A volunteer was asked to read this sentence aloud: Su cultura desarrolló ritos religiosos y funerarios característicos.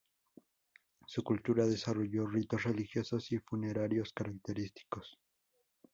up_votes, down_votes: 2, 2